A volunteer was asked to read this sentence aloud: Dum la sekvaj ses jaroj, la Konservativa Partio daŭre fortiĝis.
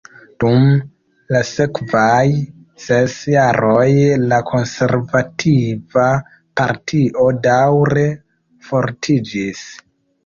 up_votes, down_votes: 2, 0